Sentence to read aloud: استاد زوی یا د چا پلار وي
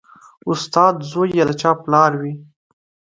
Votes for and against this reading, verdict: 2, 0, accepted